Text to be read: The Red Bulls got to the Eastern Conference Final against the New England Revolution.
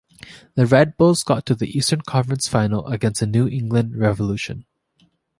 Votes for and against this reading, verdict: 2, 0, accepted